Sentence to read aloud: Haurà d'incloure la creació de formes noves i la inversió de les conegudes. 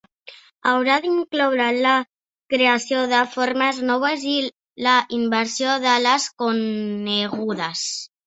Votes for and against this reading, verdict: 2, 1, accepted